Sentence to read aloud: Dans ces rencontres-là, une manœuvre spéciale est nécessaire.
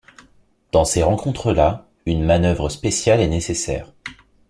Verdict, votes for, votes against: accepted, 2, 0